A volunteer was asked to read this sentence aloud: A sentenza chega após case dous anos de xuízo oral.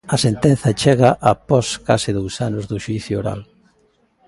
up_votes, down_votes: 1, 2